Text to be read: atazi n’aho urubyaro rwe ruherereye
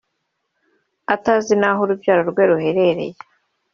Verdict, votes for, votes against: accepted, 3, 0